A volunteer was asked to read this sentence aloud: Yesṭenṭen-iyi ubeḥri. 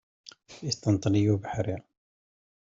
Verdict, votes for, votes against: accepted, 2, 0